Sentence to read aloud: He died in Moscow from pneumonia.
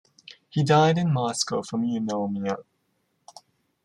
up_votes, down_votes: 1, 2